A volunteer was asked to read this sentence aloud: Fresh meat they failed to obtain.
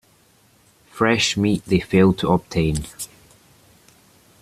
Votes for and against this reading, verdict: 2, 0, accepted